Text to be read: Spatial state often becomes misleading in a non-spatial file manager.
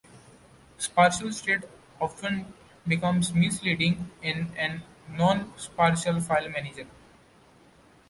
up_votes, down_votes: 1, 2